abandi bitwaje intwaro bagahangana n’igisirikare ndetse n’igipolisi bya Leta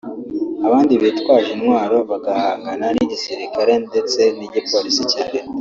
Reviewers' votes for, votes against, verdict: 1, 2, rejected